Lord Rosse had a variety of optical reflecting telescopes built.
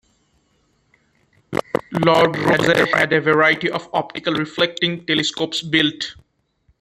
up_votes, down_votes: 1, 2